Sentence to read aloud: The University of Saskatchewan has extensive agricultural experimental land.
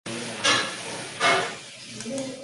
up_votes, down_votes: 0, 2